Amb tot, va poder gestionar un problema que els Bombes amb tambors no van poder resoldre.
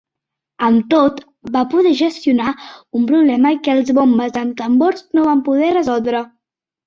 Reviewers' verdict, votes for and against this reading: accepted, 4, 0